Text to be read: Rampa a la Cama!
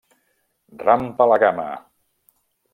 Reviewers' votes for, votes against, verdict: 2, 0, accepted